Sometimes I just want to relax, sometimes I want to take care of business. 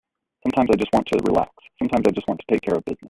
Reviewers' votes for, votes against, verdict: 1, 2, rejected